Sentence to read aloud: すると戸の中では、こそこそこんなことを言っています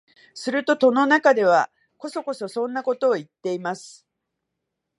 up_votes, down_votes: 1, 2